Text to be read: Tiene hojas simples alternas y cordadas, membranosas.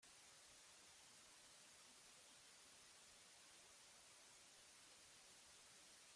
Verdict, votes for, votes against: rejected, 0, 2